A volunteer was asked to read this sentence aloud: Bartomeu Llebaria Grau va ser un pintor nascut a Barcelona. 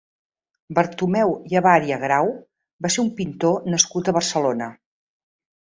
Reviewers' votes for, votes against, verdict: 1, 2, rejected